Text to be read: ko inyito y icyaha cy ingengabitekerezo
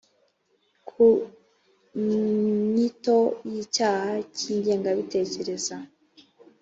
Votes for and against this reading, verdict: 1, 2, rejected